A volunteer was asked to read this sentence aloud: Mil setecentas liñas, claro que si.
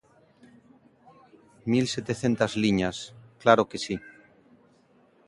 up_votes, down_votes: 2, 0